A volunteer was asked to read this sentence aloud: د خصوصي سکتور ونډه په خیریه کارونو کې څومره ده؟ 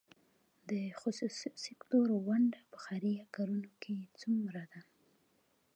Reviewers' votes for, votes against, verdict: 2, 1, accepted